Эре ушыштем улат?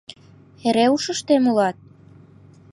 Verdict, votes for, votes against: accepted, 2, 0